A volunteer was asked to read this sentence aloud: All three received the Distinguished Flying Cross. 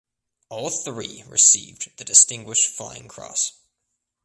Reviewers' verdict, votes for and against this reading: accepted, 2, 0